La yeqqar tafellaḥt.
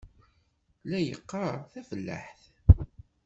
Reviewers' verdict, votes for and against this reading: rejected, 1, 2